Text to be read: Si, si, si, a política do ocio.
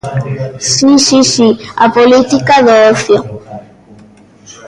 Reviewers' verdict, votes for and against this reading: rejected, 1, 2